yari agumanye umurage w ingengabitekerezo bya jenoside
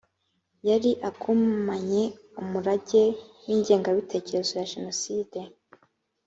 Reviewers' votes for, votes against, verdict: 1, 2, rejected